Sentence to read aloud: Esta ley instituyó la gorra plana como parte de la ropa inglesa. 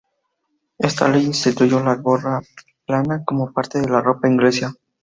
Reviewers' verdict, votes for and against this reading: accepted, 2, 0